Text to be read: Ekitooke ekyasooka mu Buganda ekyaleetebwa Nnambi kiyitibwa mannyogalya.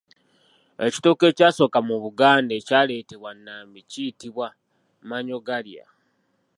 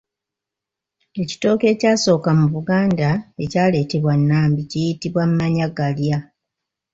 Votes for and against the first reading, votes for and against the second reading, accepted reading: 2, 1, 0, 2, first